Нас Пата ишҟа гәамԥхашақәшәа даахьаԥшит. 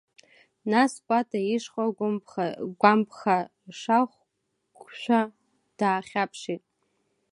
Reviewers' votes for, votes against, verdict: 1, 2, rejected